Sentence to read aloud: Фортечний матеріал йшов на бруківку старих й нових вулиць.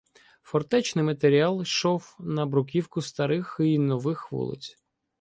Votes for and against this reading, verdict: 2, 0, accepted